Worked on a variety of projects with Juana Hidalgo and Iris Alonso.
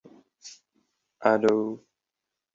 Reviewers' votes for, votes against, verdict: 0, 2, rejected